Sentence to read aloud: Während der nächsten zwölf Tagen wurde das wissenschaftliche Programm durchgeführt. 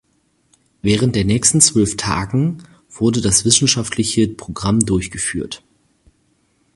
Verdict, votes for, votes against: accepted, 4, 0